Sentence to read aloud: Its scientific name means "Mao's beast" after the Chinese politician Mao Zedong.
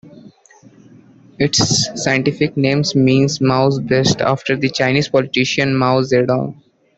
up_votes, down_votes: 2, 1